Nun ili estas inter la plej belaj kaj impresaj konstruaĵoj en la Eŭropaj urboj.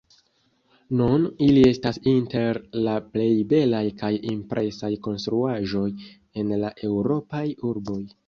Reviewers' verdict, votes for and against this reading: accepted, 2, 0